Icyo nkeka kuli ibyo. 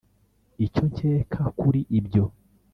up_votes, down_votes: 2, 0